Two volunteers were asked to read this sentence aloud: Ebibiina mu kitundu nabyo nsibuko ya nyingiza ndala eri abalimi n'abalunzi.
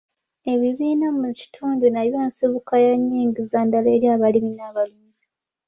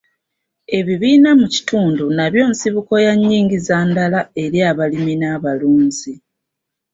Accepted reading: first